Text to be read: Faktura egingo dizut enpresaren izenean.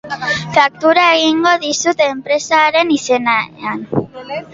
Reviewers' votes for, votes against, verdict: 1, 2, rejected